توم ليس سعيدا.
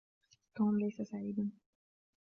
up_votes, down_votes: 3, 0